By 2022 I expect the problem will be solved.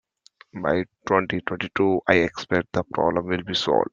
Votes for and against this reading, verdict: 0, 2, rejected